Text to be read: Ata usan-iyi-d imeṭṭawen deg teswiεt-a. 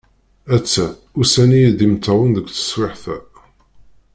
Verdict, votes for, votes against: rejected, 0, 2